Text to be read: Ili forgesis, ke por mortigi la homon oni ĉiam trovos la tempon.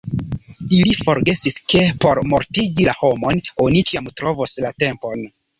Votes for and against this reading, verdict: 2, 0, accepted